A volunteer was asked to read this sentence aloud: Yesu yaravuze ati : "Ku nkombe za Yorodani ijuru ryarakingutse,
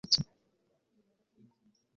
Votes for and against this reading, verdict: 0, 2, rejected